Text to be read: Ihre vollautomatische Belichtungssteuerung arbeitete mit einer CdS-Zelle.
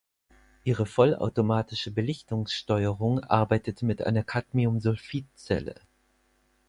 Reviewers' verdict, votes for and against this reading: rejected, 0, 4